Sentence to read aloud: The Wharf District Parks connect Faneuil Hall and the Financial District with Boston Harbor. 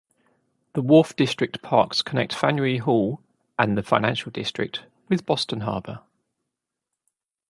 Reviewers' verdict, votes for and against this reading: accepted, 2, 0